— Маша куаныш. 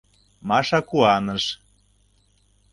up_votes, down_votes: 2, 0